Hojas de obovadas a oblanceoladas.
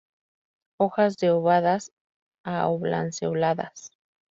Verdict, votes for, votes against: rejected, 0, 2